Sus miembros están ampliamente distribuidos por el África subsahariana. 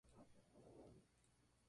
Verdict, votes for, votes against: rejected, 0, 2